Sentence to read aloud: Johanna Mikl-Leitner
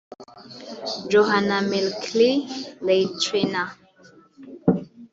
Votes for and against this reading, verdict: 0, 2, rejected